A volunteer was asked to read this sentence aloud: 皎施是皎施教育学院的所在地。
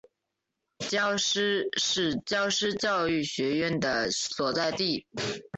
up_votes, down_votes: 2, 1